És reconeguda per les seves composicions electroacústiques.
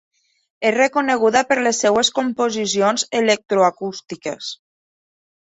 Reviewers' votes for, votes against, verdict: 2, 0, accepted